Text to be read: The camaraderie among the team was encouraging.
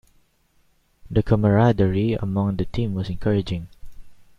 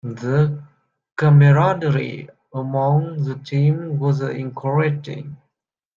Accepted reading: first